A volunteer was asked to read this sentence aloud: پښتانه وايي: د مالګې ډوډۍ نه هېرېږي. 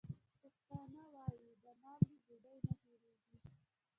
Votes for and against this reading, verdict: 0, 2, rejected